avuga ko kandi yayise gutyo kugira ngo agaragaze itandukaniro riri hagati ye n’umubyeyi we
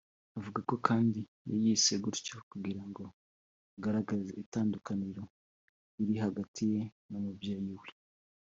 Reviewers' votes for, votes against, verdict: 2, 0, accepted